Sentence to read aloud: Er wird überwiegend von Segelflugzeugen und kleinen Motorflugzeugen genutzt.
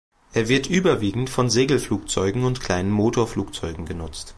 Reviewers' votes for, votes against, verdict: 2, 0, accepted